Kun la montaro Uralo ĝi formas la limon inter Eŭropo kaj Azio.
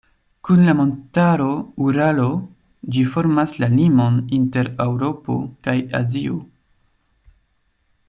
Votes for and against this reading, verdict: 2, 0, accepted